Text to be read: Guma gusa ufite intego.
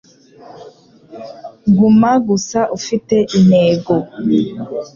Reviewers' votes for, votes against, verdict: 2, 0, accepted